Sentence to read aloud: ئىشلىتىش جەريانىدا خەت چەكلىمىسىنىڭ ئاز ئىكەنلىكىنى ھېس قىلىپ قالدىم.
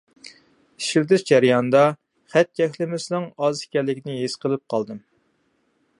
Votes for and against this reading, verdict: 2, 0, accepted